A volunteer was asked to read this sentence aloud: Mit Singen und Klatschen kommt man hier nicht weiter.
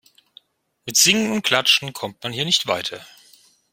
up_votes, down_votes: 0, 2